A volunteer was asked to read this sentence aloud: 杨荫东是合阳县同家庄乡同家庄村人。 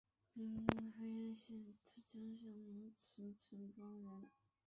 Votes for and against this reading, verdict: 1, 7, rejected